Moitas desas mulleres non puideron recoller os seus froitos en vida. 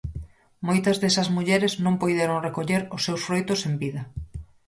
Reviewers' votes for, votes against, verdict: 4, 0, accepted